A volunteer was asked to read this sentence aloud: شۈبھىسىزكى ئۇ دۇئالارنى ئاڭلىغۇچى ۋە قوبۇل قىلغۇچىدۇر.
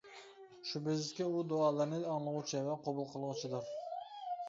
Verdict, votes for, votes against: accepted, 2, 1